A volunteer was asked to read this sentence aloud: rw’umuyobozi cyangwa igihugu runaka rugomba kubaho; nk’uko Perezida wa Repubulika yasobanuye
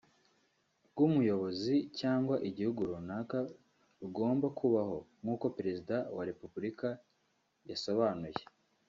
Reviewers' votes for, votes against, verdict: 1, 2, rejected